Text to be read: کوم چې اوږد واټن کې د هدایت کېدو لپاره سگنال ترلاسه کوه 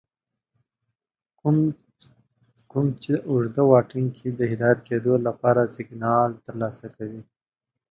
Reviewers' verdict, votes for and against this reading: accepted, 2, 1